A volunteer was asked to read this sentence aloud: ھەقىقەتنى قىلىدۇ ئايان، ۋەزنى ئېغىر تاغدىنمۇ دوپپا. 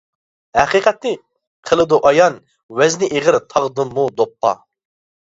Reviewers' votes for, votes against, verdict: 2, 1, accepted